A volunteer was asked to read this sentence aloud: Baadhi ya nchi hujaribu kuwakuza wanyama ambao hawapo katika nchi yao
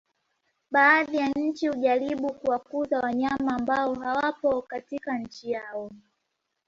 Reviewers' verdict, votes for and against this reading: accepted, 2, 0